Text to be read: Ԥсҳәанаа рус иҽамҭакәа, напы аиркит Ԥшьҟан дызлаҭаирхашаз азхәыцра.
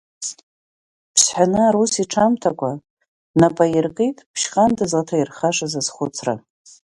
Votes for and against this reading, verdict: 3, 2, accepted